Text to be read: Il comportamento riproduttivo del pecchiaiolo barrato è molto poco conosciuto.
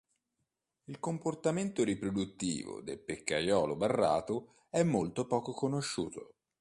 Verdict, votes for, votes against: accepted, 2, 0